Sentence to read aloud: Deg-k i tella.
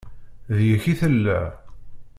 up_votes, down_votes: 2, 0